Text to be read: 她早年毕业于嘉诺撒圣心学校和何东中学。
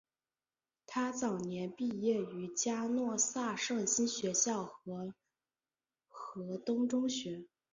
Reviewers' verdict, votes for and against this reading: rejected, 1, 2